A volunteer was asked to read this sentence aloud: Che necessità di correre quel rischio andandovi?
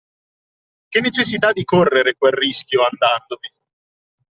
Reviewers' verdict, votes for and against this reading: accepted, 2, 0